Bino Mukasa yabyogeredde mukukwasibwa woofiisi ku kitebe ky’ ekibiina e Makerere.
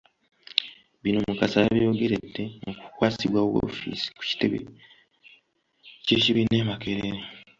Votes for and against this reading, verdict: 1, 2, rejected